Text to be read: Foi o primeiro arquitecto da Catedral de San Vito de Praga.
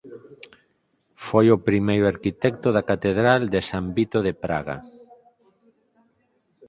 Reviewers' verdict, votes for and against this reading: accepted, 4, 0